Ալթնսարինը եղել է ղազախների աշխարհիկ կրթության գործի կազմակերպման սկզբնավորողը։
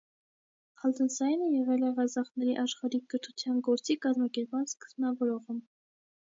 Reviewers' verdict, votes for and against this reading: accepted, 2, 1